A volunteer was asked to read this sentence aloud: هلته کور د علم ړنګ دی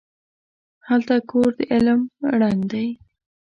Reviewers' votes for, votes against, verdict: 2, 0, accepted